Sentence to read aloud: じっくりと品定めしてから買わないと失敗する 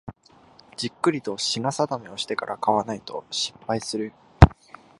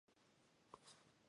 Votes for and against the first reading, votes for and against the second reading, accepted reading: 2, 1, 0, 2, first